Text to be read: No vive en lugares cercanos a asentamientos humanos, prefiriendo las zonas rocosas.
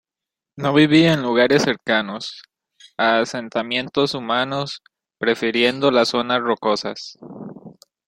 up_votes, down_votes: 0, 2